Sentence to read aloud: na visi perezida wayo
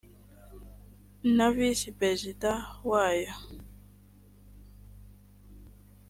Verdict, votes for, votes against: accepted, 2, 0